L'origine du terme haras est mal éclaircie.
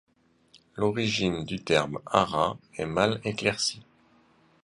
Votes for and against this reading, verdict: 0, 2, rejected